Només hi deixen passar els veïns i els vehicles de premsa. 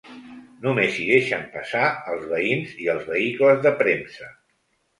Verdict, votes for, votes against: accepted, 3, 0